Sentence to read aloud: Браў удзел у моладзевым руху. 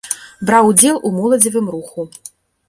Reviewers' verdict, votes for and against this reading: accepted, 2, 0